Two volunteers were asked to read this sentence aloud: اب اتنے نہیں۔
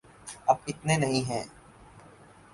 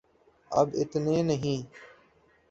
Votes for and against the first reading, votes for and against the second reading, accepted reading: 2, 4, 2, 0, second